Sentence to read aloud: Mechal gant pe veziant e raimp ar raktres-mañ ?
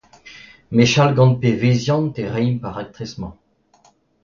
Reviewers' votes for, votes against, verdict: 2, 0, accepted